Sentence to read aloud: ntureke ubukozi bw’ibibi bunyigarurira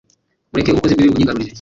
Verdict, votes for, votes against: rejected, 0, 2